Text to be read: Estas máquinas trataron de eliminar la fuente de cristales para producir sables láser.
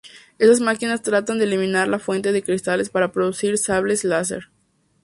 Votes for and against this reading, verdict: 0, 2, rejected